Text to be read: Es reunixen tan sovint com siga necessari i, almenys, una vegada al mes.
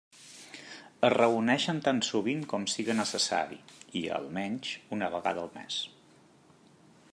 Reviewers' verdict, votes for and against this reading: accepted, 2, 0